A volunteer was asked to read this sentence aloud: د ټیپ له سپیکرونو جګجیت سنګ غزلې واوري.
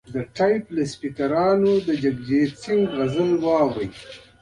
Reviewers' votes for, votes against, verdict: 2, 0, accepted